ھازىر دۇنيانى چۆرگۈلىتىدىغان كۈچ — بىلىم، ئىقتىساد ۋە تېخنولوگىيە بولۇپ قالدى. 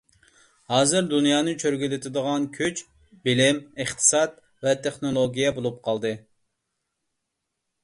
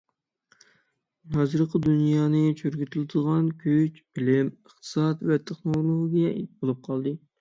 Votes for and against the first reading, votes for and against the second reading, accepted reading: 2, 0, 0, 6, first